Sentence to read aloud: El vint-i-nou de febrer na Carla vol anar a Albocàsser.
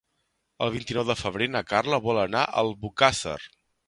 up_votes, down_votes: 2, 0